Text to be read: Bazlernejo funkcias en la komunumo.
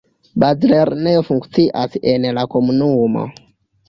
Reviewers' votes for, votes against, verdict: 2, 1, accepted